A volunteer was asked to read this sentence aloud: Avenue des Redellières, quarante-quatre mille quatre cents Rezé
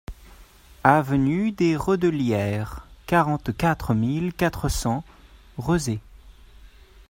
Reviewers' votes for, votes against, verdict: 2, 0, accepted